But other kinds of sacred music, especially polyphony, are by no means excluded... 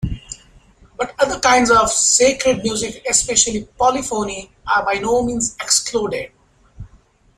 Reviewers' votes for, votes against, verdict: 2, 1, accepted